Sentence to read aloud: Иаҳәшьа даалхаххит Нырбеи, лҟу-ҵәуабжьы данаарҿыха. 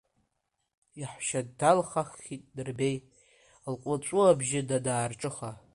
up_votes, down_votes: 1, 2